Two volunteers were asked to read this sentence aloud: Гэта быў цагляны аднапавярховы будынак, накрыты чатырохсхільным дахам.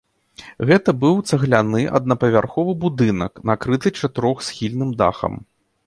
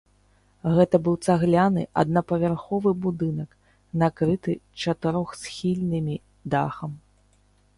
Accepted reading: first